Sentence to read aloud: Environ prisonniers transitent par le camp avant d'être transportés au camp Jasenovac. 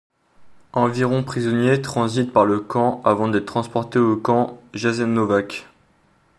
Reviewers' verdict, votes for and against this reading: accepted, 2, 0